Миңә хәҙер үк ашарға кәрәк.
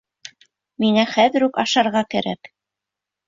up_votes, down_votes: 0, 2